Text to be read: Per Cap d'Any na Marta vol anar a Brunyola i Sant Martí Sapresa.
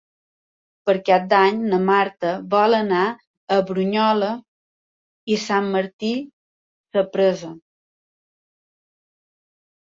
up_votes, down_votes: 2, 1